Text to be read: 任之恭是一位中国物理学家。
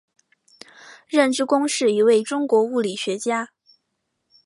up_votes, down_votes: 2, 0